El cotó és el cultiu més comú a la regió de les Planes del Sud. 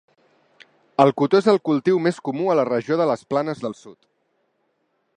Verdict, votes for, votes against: accepted, 3, 0